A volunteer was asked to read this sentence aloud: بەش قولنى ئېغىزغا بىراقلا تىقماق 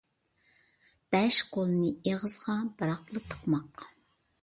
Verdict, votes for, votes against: accepted, 2, 0